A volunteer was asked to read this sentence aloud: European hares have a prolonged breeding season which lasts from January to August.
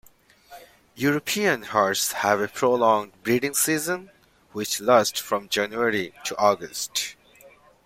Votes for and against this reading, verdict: 2, 1, accepted